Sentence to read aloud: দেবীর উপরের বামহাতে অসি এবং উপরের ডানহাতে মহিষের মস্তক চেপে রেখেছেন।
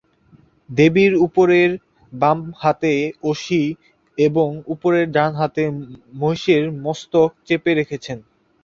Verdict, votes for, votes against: rejected, 3, 5